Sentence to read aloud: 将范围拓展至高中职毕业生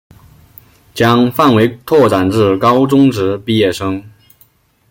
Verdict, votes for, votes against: accepted, 2, 0